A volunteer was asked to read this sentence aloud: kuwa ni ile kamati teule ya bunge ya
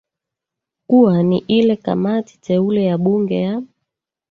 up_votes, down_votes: 1, 2